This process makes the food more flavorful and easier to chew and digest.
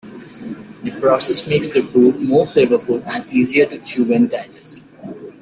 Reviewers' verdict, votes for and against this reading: accepted, 2, 1